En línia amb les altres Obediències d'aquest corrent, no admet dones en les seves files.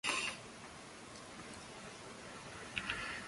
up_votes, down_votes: 0, 2